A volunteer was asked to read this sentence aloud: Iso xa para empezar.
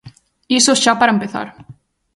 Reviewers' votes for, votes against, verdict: 2, 0, accepted